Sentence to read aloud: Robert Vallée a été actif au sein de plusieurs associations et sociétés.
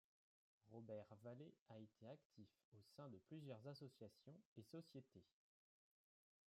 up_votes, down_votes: 0, 2